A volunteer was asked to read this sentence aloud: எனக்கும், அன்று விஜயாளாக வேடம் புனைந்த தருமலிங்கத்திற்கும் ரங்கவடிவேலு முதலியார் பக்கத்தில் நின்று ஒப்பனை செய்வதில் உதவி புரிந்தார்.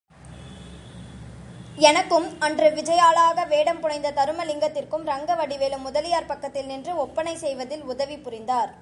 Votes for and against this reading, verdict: 2, 0, accepted